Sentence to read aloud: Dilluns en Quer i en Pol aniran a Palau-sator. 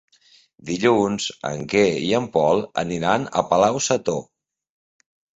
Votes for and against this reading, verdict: 3, 0, accepted